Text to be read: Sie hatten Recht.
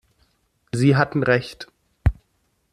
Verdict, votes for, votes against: accepted, 2, 0